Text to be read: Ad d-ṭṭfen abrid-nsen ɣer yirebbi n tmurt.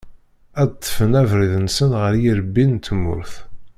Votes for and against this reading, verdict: 2, 0, accepted